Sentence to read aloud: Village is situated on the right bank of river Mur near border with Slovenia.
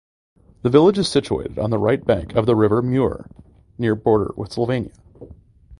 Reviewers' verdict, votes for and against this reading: rejected, 0, 2